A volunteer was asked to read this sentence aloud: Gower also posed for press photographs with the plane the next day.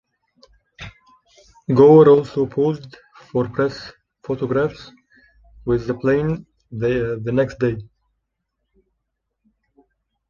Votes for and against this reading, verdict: 1, 2, rejected